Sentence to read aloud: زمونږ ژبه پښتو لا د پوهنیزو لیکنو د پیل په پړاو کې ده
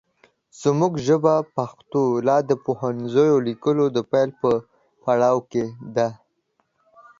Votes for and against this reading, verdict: 2, 1, accepted